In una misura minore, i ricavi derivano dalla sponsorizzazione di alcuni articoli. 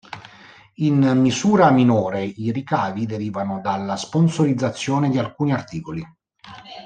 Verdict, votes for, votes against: rejected, 0, 2